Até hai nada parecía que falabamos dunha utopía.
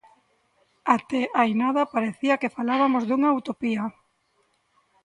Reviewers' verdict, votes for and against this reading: rejected, 1, 2